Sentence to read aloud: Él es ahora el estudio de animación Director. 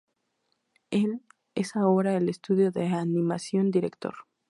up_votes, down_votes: 2, 0